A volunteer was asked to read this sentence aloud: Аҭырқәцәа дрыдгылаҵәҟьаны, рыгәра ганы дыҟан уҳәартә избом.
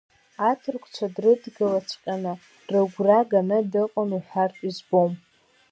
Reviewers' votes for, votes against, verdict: 2, 0, accepted